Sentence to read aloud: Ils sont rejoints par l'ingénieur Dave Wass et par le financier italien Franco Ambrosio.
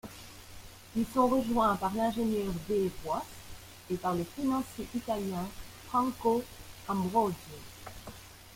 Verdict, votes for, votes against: accepted, 2, 0